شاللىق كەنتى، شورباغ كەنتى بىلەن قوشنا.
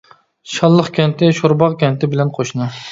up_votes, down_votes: 2, 0